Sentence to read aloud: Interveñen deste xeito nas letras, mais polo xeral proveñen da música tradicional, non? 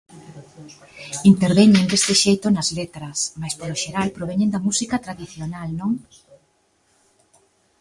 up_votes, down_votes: 2, 0